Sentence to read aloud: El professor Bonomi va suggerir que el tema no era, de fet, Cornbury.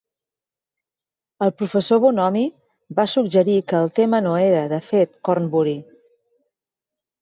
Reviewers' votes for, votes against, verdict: 4, 0, accepted